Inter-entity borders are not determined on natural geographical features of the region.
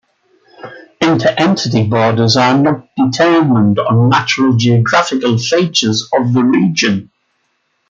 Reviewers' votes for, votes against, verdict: 2, 0, accepted